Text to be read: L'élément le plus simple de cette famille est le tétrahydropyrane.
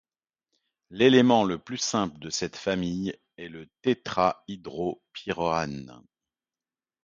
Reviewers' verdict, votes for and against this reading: rejected, 0, 2